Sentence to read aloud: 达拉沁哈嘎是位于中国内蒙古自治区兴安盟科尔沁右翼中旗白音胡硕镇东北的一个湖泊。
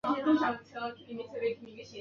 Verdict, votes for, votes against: rejected, 0, 4